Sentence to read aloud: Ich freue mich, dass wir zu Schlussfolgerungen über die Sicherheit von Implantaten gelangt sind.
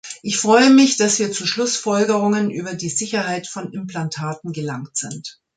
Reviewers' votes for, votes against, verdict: 2, 0, accepted